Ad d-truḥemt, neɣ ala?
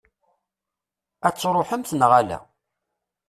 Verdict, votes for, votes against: rejected, 1, 2